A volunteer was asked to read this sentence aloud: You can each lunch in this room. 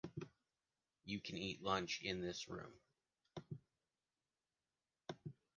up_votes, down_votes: 0, 2